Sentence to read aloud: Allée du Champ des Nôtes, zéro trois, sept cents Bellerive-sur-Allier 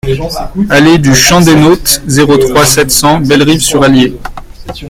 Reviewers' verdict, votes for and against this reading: accepted, 2, 1